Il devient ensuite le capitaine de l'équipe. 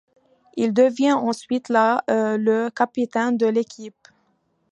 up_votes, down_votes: 0, 2